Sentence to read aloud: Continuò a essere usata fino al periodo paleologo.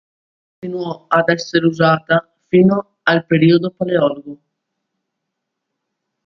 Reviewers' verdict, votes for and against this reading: rejected, 0, 2